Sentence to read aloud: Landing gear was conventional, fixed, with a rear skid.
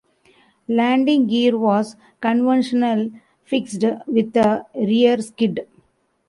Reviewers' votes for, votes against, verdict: 0, 2, rejected